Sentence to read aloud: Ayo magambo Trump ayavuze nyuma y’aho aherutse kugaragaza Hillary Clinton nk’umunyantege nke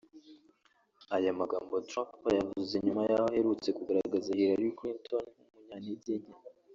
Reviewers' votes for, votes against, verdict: 1, 2, rejected